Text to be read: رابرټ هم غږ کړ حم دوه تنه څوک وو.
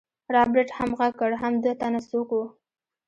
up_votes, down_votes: 1, 2